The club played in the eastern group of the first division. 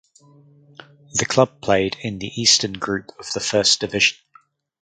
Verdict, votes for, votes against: rejected, 2, 4